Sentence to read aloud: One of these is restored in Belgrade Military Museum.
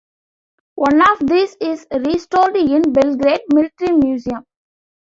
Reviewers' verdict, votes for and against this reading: accepted, 2, 1